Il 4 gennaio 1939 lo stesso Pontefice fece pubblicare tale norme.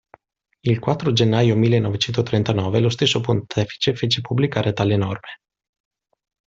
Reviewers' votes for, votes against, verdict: 0, 2, rejected